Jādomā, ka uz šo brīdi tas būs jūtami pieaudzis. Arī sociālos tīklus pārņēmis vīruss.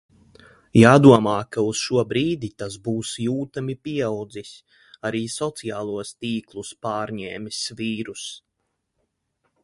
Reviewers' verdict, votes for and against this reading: accepted, 2, 0